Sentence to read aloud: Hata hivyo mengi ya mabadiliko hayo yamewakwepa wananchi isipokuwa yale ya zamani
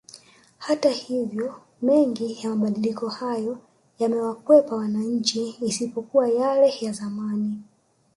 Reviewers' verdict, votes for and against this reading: accepted, 2, 0